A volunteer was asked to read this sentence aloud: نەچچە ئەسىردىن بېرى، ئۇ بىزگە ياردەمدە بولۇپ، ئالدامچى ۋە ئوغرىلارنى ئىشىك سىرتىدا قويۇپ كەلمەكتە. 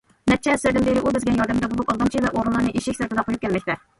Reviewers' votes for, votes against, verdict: 0, 2, rejected